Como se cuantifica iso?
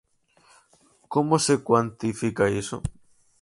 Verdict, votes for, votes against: accepted, 4, 0